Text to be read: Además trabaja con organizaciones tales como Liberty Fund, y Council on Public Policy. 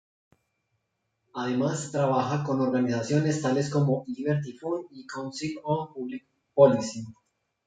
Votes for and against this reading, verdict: 0, 2, rejected